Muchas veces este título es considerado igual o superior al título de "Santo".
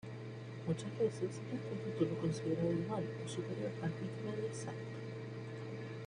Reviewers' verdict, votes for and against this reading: rejected, 1, 2